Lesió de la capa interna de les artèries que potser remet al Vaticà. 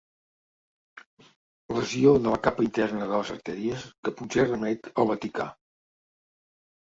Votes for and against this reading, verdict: 2, 0, accepted